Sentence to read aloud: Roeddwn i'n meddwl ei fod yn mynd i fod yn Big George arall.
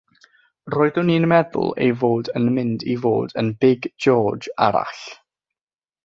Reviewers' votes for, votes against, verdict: 6, 0, accepted